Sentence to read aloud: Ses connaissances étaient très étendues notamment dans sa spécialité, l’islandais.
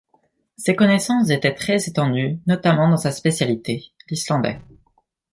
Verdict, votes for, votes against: rejected, 0, 2